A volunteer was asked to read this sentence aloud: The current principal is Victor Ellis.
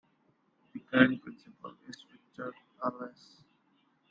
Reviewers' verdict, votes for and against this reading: rejected, 0, 2